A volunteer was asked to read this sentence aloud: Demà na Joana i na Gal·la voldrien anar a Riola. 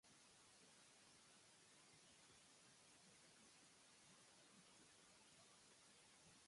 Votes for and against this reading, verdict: 0, 2, rejected